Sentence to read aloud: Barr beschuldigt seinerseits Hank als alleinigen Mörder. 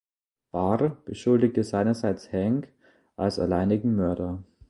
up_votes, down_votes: 0, 2